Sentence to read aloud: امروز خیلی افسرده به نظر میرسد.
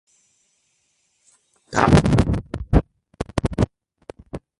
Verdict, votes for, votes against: rejected, 0, 2